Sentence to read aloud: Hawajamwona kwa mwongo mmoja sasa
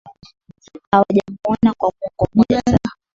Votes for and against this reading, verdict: 3, 2, accepted